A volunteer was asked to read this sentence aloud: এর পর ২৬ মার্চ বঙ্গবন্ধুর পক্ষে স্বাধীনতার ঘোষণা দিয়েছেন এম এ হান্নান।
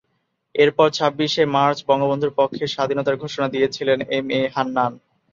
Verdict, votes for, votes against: rejected, 0, 2